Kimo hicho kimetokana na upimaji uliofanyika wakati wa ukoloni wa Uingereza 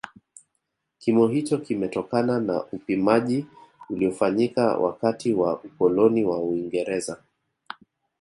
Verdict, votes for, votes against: accepted, 2, 0